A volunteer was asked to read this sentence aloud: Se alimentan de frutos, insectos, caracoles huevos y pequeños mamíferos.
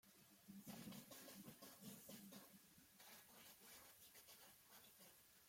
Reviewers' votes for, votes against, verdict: 0, 2, rejected